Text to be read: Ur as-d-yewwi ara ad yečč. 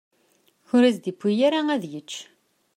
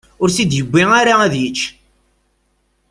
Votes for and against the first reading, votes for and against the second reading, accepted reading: 2, 0, 0, 2, first